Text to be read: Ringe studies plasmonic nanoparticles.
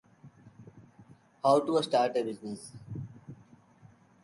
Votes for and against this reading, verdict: 0, 2, rejected